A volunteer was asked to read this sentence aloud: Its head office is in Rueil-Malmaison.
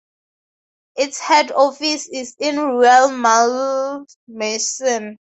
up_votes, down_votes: 2, 0